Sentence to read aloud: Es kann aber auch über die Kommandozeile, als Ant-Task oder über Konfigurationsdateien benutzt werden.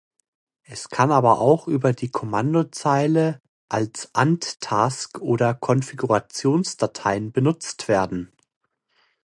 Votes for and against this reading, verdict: 0, 2, rejected